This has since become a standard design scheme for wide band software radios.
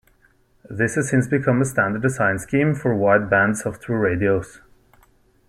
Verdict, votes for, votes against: rejected, 0, 2